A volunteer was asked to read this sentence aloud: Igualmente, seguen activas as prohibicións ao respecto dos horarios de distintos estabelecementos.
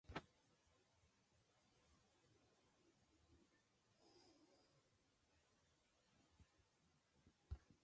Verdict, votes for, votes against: rejected, 0, 2